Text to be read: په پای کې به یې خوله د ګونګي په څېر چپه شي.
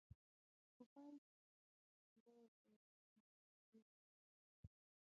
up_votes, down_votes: 0, 2